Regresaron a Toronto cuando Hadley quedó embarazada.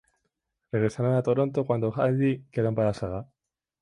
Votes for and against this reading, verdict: 2, 0, accepted